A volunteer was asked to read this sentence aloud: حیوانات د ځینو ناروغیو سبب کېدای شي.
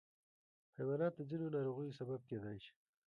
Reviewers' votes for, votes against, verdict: 1, 2, rejected